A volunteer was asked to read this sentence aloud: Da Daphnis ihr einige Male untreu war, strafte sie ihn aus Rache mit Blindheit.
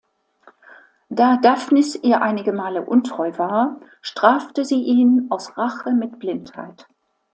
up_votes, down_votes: 2, 0